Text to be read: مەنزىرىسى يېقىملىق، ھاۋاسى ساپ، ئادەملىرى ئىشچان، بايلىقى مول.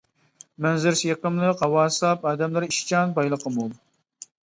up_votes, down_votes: 2, 0